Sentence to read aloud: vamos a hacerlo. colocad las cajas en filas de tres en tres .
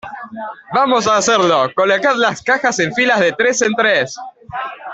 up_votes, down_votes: 2, 0